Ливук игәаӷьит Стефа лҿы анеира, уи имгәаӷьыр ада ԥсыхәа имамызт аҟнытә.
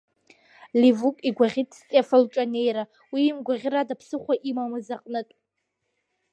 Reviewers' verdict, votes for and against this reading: rejected, 1, 2